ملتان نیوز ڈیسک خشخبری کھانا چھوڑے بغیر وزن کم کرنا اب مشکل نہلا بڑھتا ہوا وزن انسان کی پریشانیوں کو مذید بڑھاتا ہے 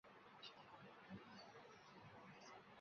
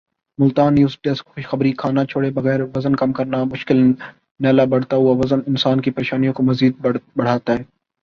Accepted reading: second